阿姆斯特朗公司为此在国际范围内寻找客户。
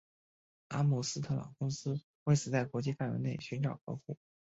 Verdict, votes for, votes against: accepted, 2, 0